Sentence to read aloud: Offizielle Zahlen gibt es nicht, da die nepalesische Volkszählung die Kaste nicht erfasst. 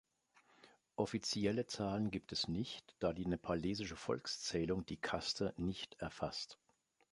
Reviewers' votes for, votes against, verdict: 2, 0, accepted